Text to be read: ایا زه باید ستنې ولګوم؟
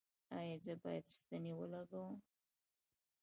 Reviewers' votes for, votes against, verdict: 2, 0, accepted